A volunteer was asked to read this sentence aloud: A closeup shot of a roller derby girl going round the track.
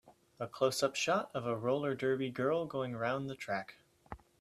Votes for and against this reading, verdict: 2, 0, accepted